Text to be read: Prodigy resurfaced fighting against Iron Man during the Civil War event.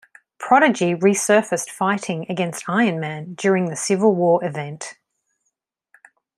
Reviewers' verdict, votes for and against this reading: accepted, 2, 0